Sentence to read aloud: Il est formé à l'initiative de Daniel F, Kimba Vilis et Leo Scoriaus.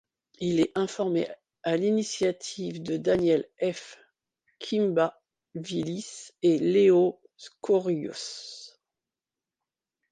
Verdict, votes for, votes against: rejected, 1, 2